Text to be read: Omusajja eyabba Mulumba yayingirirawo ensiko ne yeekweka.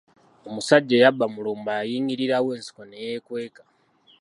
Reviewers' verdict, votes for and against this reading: accepted, 2, 0